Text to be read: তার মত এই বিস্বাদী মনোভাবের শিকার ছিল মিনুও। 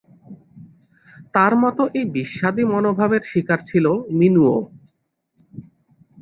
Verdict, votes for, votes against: accepted, 2, 0